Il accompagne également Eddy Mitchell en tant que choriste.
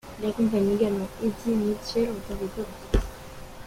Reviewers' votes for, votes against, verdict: 2, 1, accepted